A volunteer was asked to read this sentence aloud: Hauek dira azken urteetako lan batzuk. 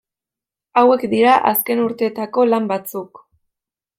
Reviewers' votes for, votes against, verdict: 2, 0, accepted